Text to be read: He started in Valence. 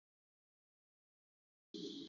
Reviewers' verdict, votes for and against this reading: rejected, 0, 2